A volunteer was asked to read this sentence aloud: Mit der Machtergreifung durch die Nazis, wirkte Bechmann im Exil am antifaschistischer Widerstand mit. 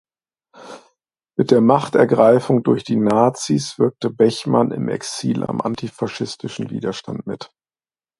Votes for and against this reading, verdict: 1, 2, rejected